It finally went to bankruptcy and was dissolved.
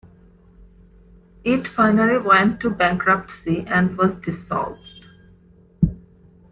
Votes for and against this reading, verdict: 2, 0, accepted